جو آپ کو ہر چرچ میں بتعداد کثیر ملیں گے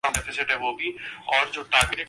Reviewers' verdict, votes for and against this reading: rejected, 1, 5